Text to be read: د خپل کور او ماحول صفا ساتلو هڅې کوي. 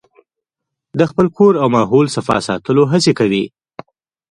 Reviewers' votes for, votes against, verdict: 2, 1, accepted